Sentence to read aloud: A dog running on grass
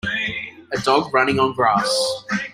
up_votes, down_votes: 2, 0